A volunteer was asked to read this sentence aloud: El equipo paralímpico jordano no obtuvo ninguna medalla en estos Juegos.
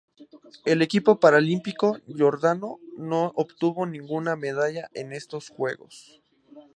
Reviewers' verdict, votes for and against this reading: rejected, 0, 2